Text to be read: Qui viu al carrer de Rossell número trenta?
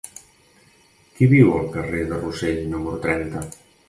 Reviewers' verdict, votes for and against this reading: accepted, 2, 0